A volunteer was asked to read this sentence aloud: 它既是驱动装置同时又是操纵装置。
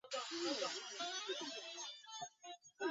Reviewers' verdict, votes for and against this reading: rejected, 3, 3